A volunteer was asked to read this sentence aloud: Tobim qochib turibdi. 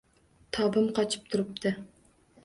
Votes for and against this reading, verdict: 2, 0, accepted